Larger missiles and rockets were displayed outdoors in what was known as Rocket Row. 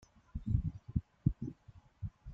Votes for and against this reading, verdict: 0, 2, rejected